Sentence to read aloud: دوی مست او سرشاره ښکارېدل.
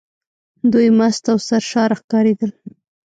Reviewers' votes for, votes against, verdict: 1, 2, rejected